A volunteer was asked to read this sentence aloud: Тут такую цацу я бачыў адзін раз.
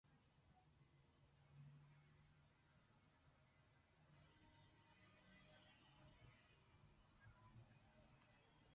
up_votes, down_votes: 0, 2